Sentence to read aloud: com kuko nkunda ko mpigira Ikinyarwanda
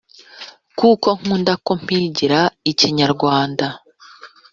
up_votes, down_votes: 0, 2